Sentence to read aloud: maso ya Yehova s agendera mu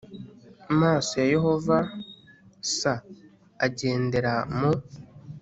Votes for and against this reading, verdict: 2, 0, accepted